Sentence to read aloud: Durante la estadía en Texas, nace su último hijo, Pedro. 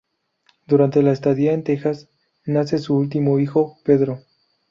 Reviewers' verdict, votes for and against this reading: accepted, 2, 0